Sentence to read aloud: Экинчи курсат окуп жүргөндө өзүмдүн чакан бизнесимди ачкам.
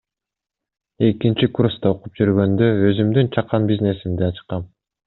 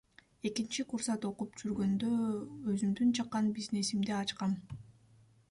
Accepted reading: second